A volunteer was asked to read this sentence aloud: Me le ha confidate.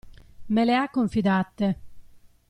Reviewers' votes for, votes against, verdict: 2, 0, accepted